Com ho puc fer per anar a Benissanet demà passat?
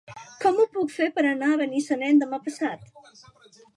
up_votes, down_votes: 2, 1